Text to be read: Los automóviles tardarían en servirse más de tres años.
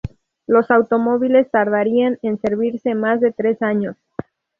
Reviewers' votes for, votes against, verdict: 2, 0, accepted